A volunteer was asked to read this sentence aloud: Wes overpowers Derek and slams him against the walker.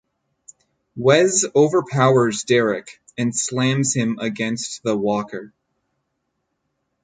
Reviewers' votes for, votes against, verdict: 6, 0, accepted